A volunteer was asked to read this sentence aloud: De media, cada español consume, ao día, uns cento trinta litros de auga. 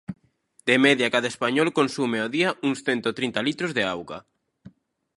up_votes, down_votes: 2, 0